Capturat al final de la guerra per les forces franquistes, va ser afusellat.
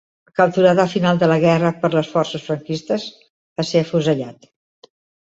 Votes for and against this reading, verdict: 2, 0, accepted